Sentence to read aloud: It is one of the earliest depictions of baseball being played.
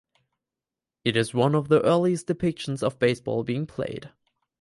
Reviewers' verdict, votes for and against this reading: accepted, 2, 0